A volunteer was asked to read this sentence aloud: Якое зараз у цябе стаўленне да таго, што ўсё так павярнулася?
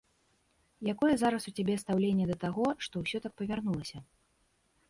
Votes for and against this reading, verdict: 1, 2, rejected